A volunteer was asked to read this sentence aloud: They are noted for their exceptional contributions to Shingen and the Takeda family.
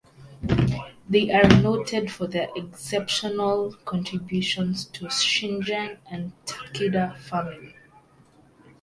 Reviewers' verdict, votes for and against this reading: accepted, 4, 0